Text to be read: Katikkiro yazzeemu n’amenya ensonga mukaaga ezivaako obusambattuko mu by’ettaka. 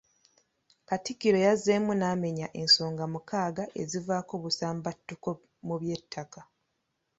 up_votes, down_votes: 2, 0